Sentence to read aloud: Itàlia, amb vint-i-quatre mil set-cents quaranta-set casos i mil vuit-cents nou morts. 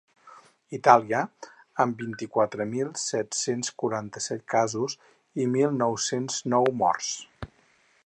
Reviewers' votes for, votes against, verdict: 0, 4, rejected